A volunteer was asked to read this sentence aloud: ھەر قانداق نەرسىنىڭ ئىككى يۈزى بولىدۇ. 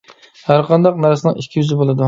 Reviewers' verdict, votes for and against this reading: accepted, 2, 0